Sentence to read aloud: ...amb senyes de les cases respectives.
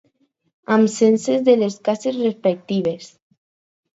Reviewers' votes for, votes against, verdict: 2, 4, rejected